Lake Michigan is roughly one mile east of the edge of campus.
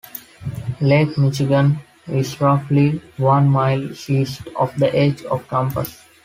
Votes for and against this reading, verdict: 2, 1, accepted